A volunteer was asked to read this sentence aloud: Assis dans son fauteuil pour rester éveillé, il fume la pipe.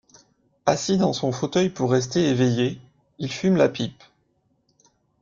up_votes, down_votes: 2, 0